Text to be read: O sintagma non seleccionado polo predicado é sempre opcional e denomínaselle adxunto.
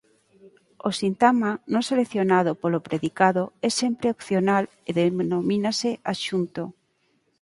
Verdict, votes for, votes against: rejected, 0, 4